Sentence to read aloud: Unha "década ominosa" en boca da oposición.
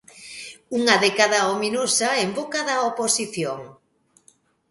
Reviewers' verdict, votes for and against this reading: accepted, 2, 0